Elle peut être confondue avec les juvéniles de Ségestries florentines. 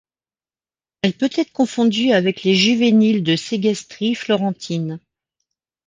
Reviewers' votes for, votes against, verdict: 1, 2, rejected